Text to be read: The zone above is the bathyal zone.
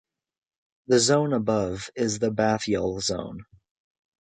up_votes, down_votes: 2, 0